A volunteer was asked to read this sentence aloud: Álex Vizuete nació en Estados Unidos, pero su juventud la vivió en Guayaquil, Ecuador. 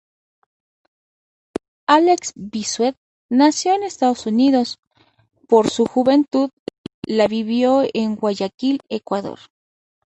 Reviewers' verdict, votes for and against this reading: rejected, 0, 4